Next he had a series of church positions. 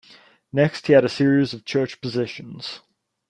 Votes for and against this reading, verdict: 2, 0, accepted